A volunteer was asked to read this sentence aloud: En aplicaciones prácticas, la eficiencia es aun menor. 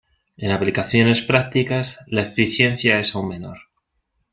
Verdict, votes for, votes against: accepted, 2, 0